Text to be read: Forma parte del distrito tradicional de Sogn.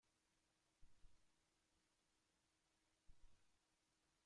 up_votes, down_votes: 0, 2